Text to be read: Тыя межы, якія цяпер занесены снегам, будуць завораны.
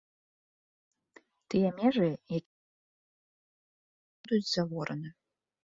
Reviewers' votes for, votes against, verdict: 0, 2, rejected